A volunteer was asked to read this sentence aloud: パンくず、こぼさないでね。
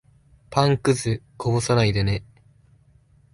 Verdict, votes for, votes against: accepted, 3, 0